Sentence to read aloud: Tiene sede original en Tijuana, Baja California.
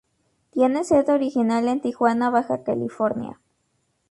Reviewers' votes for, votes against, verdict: 2, 0, accepted